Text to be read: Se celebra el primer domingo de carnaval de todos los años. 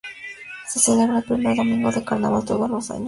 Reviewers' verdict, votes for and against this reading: rejected, 0, 2